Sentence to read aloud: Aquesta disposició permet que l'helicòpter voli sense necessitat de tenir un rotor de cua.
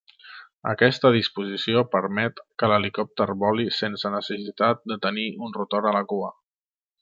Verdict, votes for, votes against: rejected, 0, 2